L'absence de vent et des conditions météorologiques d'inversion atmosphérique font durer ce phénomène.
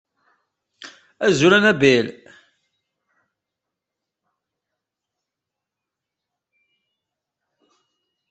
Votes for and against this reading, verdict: 0, 2, rejected